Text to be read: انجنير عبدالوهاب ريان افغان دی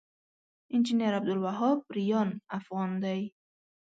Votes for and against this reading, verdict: 2, 0, accepted